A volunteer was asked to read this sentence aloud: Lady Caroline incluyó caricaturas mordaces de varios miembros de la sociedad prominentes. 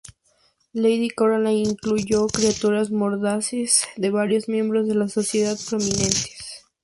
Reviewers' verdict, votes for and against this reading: accepted, 2, 0